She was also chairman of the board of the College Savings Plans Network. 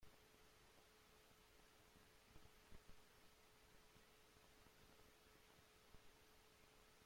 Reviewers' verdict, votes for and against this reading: rejected, 0, 2